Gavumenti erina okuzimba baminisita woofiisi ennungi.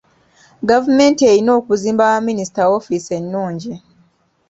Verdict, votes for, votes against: accepted, 3, 0